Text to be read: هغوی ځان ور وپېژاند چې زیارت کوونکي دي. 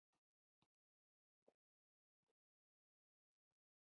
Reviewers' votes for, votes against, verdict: 0, 2, rejected